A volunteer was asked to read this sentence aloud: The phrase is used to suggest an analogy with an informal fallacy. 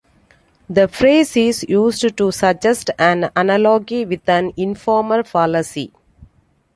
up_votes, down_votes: 2, 1